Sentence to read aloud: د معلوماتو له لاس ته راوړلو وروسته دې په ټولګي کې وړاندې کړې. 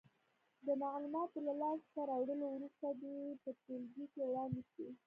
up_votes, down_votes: 1, 2